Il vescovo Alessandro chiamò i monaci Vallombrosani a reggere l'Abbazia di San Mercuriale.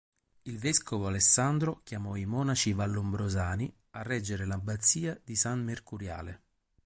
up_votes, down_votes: 2, 0